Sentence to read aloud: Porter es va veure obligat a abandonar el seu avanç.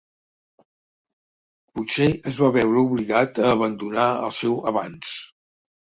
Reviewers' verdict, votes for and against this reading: rejected, 1, 2